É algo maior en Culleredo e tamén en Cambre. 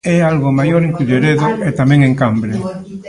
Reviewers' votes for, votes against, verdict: 1, 2, rejected